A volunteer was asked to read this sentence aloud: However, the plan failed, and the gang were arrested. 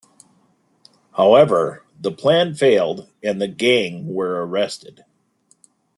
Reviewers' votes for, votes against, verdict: 2, 0, accepted